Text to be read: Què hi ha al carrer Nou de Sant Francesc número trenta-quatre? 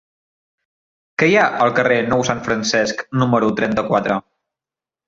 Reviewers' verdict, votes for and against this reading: rejected, 0, 2